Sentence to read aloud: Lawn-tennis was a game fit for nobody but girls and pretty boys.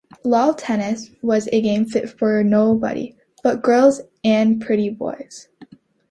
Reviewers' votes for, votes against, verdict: 2, 1, accepted